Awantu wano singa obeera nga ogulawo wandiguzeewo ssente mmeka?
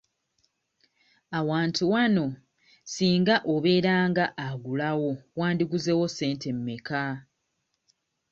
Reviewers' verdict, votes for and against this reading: accepted, 2, 0